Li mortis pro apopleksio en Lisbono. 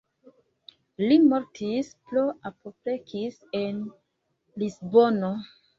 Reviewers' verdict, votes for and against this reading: rejected, 0, 2